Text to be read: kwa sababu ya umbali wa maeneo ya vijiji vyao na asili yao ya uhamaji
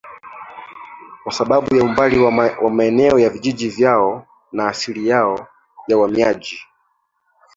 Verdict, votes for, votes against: rejected, 0, 2